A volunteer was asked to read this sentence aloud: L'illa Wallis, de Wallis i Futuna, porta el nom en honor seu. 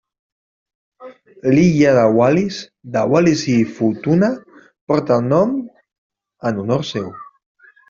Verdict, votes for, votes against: rejected, 1, 2